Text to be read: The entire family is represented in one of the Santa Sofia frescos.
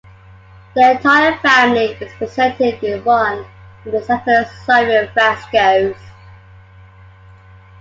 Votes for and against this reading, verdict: 2, 1, accepted